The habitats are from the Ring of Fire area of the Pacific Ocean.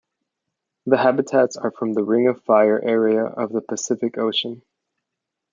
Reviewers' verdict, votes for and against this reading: accepted, 2, 0